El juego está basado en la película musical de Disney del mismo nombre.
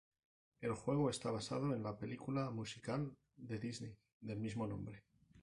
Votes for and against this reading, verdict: 2, 0, accepted